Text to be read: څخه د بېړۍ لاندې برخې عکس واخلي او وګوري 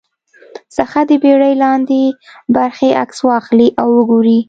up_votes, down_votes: 2, 0